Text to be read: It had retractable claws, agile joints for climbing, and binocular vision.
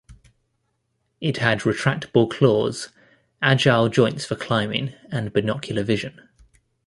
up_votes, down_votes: 2, 0